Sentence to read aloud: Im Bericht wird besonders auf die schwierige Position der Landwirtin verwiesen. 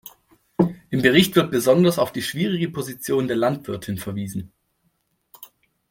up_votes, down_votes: 2, 0